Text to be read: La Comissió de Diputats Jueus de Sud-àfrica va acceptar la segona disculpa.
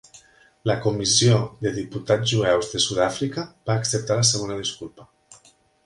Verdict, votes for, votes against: accepted, 3, 0